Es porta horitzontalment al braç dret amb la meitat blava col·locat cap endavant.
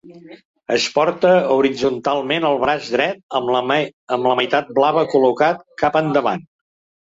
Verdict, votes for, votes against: rejected, 2, 3